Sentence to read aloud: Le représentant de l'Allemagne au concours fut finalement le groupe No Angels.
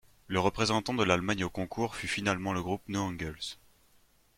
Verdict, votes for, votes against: accepted, 2, 0